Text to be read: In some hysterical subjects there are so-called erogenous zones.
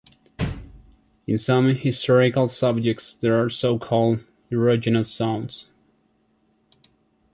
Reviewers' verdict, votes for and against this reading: accepted, 2, 0